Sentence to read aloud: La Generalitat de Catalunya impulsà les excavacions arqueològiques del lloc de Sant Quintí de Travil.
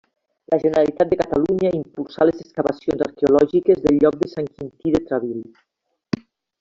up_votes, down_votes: 2, 0